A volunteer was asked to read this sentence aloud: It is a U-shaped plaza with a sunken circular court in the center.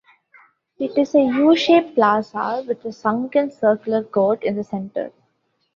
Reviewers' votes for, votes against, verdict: 1, 2, rejected